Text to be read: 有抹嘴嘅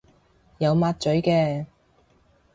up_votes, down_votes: 2, 0